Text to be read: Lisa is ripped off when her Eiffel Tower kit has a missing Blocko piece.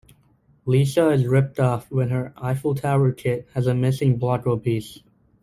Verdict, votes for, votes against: accepted, 2, 0